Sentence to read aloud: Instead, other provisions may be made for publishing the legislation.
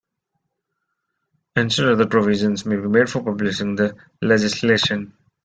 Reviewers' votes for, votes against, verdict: 0, 2, rejected